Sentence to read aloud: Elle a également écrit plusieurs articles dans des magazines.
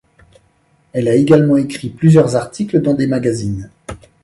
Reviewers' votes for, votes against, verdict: 2, 0, accepted